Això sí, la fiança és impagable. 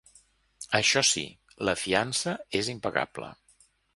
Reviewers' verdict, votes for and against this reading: accepted, 2, 0